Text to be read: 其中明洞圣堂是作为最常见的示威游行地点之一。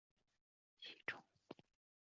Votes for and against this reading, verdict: 0, 2, rejected